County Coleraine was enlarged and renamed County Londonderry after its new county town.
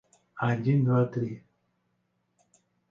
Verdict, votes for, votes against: rejected, 0, 2